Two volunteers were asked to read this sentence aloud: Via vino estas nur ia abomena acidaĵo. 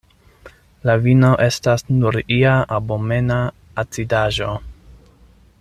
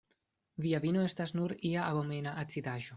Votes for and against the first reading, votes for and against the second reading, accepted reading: 0, 2, 2, 0, second